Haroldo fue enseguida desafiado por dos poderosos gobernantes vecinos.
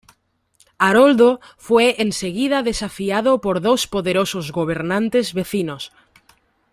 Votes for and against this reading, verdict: 2, 0, accepted